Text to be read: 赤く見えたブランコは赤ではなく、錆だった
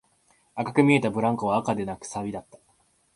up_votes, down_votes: 0, 2